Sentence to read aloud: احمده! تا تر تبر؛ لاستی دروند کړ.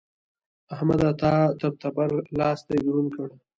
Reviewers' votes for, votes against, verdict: 2, 1, accepted